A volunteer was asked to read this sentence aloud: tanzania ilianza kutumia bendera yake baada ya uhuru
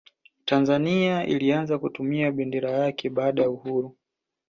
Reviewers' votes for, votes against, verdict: 2, 0, accepted